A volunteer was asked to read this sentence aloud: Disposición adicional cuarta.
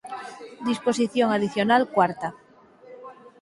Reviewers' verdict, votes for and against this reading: accepted, 6, 0